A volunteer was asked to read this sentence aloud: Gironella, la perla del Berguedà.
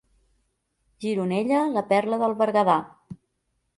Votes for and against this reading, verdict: 2, 0, accepted